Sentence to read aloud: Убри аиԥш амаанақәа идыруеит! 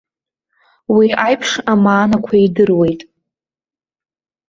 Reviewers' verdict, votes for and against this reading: rejected, 0, 2